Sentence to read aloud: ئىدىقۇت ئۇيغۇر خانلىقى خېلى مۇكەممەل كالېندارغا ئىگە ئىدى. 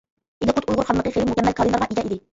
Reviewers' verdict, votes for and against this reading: rejected, 0, 2